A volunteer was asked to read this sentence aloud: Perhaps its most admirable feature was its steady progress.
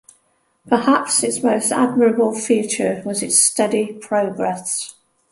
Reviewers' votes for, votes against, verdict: 2, 0, accepted